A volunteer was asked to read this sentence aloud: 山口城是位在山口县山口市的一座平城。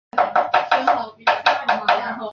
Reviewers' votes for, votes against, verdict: 0, 2, rejected